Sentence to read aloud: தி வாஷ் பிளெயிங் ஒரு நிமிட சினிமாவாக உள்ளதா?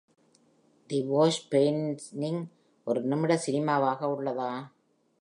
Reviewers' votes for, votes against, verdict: 0, 2, rejected